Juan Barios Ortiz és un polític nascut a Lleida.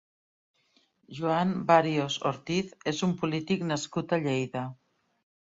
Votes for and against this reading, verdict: 2, 1, accepted